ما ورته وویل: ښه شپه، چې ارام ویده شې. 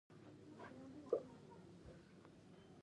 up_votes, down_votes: 1, 2